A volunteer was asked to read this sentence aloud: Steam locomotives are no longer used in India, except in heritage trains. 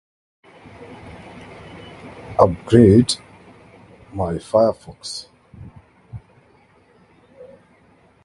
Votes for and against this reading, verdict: 1, 2, rejected